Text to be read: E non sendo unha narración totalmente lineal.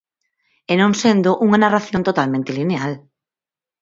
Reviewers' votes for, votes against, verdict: 4, 0, accepted